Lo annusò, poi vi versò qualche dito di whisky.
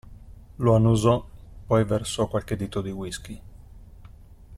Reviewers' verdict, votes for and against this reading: rejected, 0, 2